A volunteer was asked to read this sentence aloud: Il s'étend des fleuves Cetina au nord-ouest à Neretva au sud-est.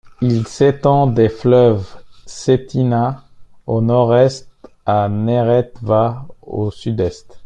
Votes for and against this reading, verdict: 1, 2, rejected